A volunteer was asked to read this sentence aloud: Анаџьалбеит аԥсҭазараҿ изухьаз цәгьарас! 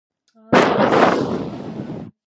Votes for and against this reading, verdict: 1, 2, rejected